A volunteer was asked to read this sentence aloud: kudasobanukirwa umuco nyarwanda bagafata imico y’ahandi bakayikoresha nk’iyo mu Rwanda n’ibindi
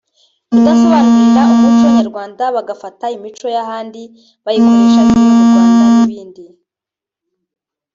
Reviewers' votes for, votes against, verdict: 2, 1, accepted